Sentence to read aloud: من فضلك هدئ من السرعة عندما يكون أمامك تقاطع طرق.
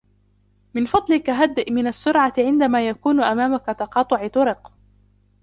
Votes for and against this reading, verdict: 1, 2, rejected